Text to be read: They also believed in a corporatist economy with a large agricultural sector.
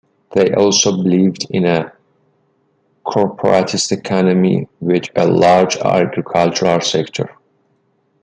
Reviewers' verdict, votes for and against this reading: rejected, 1, 2